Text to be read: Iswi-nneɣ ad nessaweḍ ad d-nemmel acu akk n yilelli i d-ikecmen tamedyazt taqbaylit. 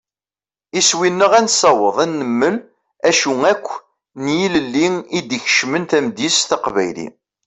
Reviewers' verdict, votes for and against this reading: accepted, 2, 0